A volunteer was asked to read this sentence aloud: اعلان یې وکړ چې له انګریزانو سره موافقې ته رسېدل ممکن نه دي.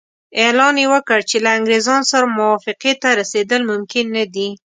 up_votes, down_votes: 2, 0